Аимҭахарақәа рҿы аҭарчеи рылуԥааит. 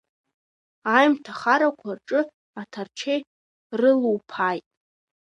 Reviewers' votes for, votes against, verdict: 0, 2, rejected